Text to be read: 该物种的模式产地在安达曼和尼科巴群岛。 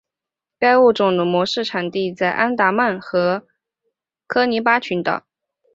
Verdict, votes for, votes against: rejected, 0, 2